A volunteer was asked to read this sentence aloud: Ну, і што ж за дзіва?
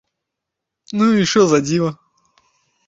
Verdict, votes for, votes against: rejected, 1, 3